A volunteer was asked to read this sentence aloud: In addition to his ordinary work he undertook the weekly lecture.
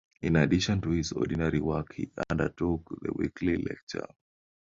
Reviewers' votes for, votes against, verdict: 2, 0, accepted